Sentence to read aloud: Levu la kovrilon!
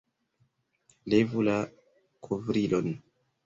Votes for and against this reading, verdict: 1, 2, rejected